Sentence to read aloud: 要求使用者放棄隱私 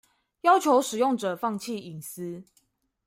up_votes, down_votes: 2, 0